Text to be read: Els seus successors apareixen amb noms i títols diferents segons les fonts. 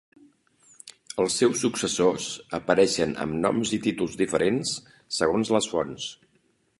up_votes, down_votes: 2, 0